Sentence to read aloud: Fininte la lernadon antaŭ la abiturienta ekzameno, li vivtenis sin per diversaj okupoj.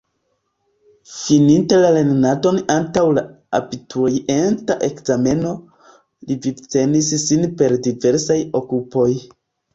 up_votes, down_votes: 2, 1